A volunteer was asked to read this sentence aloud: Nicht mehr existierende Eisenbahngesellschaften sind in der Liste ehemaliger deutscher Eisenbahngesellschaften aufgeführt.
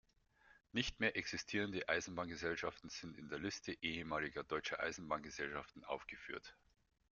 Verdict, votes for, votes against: accepted, 2, 0